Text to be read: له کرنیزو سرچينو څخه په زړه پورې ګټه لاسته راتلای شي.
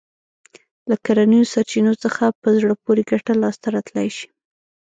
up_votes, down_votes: 1, 2